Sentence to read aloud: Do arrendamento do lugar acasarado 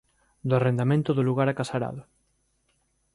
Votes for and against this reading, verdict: 2, 0, accepted